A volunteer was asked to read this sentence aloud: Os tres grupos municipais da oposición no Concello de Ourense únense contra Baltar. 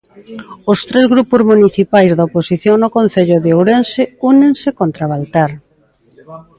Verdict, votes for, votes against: accepted, 2, 1